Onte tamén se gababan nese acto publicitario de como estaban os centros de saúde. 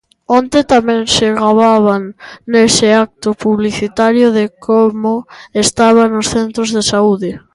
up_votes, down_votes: 2, 0